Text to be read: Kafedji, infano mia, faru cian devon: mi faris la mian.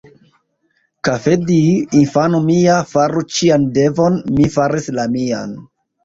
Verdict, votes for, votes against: accepted, 2, 0